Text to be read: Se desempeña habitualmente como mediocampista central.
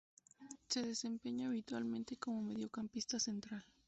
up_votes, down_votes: 0, 2